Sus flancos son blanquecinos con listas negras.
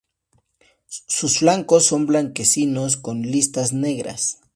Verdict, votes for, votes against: accepted, 2, 0